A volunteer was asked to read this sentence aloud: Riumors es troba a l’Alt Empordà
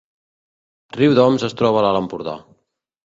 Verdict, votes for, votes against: rejected, 1, 2